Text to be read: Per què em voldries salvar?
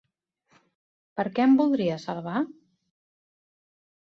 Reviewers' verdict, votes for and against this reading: accepted, 2, 0